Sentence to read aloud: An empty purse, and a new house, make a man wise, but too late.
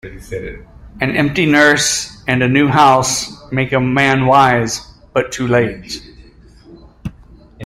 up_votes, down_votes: 0, 2